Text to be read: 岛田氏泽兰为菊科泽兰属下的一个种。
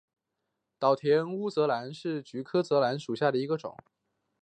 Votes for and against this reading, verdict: 2, 0, accepted